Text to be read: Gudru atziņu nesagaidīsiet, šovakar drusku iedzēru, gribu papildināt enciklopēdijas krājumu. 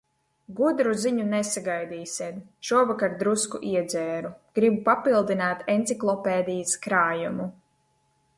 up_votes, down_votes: 0, 2